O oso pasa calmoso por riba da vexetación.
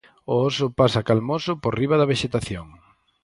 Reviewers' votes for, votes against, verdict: 4, 0, accepted